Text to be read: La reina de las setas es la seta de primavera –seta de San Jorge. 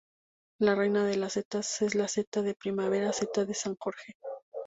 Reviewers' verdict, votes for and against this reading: accepted, 2, 0